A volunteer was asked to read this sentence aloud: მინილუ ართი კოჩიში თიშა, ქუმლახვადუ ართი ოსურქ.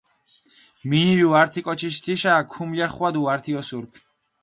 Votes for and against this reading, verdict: 4, 0, accepted